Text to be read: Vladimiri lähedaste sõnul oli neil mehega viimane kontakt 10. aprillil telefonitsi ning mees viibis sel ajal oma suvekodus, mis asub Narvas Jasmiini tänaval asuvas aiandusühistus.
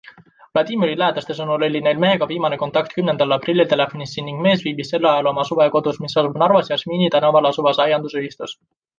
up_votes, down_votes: 0, 2